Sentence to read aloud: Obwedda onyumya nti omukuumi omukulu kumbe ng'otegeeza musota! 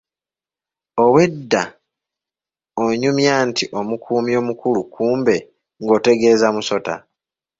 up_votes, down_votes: 1, 2